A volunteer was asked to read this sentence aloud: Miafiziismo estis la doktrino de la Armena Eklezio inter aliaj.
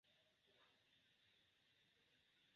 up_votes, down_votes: 1, 3